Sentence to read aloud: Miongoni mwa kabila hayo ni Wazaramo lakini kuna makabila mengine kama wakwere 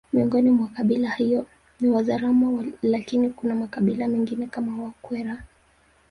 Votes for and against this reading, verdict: 0, 2, rejected